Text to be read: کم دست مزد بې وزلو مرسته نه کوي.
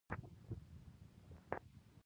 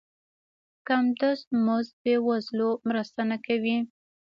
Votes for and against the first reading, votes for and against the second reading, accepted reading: 0, 2, 2, 0, second